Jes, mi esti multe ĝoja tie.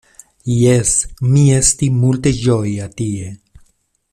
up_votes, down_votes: 2, 0